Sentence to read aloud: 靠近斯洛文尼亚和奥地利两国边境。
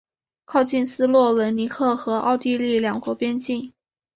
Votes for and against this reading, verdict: 2, 0, accepted